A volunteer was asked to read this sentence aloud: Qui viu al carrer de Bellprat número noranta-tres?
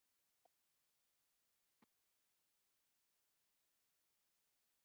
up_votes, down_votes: 0, 2